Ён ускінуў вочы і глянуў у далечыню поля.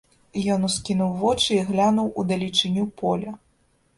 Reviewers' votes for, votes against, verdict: 2, 0, accepted